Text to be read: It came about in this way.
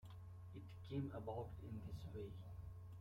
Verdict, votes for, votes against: rejected, 1, 2